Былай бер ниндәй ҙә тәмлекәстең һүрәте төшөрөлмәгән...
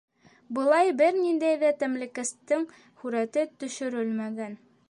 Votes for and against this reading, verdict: 2, 0, accepted